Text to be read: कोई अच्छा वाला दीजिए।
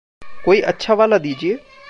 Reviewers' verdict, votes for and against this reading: accepted, 2, 0